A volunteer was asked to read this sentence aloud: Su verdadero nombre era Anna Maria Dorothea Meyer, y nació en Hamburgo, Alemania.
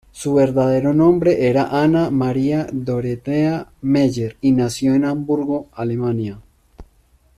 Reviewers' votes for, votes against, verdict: 1, 2, rejected